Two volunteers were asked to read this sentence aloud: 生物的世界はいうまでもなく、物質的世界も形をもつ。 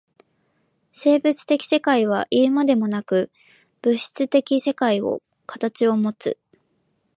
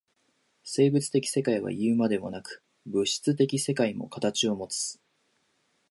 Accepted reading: second